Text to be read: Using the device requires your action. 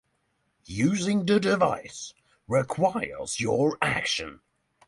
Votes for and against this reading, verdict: 6, 0, accepted